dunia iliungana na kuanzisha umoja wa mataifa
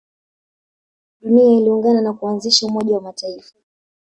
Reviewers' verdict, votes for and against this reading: rejected, 0, 2